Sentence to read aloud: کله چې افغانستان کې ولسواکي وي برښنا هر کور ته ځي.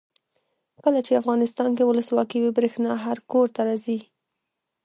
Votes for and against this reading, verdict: 0, 2, rejected